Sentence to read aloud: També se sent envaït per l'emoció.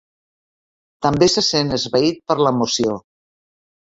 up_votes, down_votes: 0, 2